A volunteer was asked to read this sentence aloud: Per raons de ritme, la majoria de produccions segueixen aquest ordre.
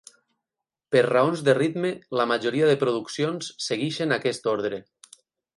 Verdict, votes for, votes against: rejected, 4, 8